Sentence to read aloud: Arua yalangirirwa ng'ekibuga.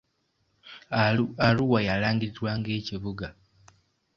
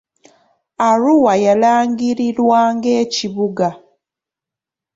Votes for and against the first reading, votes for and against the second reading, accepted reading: 1, 2, 2, 0, second